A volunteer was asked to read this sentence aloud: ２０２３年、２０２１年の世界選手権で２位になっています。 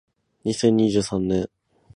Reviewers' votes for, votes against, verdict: 0, 2, rejected